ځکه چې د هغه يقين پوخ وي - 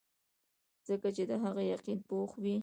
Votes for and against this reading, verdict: 0, 2, rejected